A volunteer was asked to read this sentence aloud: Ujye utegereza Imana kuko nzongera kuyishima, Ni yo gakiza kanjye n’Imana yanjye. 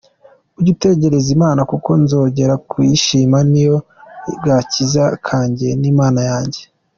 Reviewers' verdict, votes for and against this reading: accepted, 2, 0